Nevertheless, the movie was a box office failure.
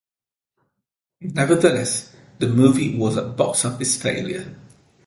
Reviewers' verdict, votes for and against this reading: accepted, 3, 0